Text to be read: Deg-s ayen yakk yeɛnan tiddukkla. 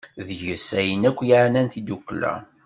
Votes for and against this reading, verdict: 2, 0, accepted